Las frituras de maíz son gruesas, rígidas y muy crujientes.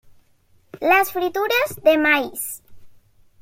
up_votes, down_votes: 1, 2